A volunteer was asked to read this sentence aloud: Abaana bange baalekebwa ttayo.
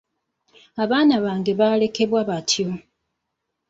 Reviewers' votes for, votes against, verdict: 2, 0, accepted